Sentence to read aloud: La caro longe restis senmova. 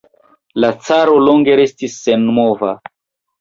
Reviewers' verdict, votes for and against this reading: accepted, 2, 0